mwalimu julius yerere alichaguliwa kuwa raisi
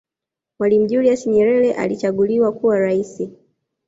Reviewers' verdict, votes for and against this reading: accepted, 2, 1